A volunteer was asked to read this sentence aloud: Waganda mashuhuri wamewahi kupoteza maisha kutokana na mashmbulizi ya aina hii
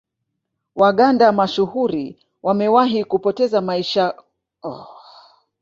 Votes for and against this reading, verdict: 2, 1, accepted